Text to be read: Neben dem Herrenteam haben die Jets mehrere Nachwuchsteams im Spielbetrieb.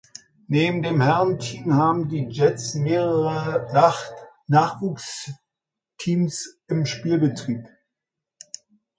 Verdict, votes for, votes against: rejected, 0, 2